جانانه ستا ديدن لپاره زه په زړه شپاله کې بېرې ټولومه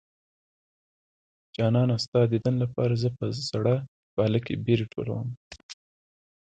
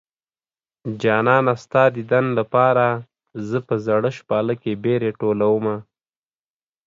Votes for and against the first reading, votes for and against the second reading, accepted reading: 2, 3, 2, 0, second